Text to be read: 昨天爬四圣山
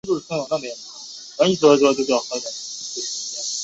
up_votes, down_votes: 1, 4